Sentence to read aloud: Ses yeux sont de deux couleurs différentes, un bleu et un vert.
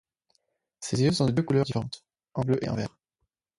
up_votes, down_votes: 0, 4